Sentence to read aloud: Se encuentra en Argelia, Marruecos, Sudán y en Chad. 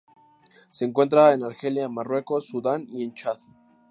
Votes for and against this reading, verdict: 2, 0, accepted